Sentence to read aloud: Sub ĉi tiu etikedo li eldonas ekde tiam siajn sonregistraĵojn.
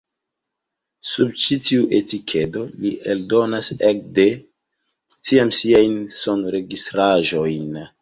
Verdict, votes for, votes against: rejected, 1, 2